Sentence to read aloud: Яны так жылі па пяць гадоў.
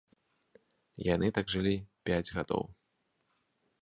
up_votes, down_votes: 0, 2